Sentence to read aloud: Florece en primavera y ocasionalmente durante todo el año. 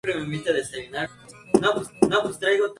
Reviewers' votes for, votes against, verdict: 0, 2, rejected